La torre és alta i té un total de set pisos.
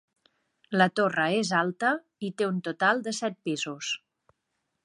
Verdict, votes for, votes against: accepted, 2, 0